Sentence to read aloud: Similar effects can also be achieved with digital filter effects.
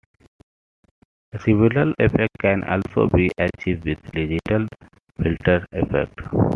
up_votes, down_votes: 2, 0